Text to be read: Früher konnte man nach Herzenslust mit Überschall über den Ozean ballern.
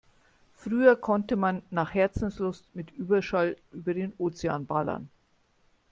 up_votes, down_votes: 2, 0